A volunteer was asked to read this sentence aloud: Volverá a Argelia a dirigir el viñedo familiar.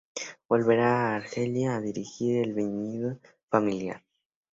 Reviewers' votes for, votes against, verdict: 2, 0, accepted